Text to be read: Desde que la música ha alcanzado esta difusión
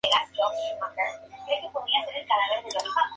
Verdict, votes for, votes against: rejected, 0, 4